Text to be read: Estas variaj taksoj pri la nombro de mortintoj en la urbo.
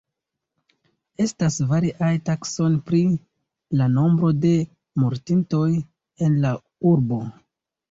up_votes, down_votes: 0, 2